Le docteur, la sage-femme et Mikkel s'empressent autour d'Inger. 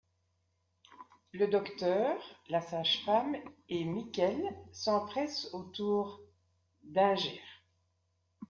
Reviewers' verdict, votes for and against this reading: rejected, 1, 2